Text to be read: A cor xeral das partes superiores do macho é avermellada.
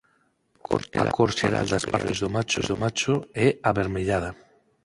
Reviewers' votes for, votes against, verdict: 0, 6, rejected